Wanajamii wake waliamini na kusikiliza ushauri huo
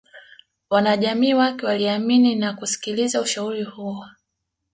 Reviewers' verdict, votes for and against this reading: accepted, 2, 0